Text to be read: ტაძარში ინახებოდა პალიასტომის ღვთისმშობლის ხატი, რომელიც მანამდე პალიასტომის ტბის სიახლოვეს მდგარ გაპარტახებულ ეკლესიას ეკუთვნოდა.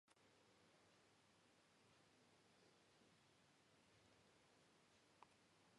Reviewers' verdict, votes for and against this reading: rejected, 1, 2